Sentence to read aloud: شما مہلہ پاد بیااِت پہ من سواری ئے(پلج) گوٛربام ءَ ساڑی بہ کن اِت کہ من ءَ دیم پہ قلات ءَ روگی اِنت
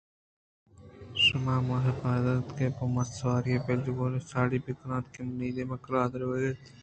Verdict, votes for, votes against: rejected, 1, 2